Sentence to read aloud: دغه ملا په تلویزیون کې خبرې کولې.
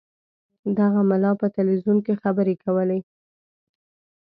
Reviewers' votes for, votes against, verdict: 2, 0, accepted